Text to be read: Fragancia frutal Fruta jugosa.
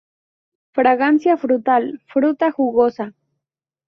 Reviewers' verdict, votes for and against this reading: accepted, 2, 0